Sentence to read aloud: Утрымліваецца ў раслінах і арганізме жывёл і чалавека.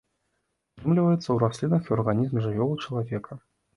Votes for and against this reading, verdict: 0, 2, rejected